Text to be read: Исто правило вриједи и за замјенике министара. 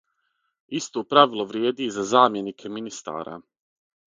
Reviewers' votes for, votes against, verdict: 6, 0, accepted